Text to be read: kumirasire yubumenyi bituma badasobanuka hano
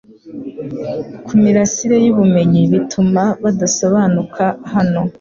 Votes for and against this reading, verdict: 2, 0, accepted